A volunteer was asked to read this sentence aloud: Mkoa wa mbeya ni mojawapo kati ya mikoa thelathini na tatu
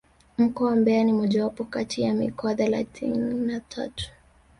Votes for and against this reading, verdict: 3, 1, accepted